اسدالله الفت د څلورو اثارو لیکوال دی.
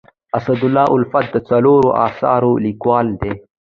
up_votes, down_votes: 2, 0